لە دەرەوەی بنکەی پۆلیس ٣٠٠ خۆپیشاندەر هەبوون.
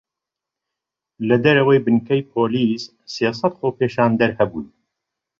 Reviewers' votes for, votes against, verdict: 0, 2, rejected